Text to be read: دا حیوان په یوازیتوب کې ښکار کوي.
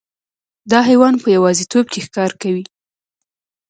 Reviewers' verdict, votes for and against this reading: rejected, 0, 2